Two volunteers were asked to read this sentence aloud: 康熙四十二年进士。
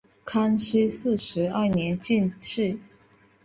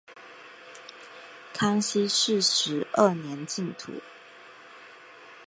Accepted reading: first